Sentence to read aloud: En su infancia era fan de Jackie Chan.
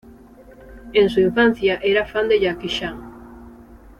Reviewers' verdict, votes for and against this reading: rejected, 1, 2